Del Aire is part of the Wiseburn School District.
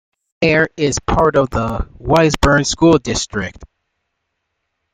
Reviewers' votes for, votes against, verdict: 1, 2, rejected